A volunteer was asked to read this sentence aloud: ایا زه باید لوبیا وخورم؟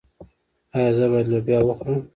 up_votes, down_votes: 2, 0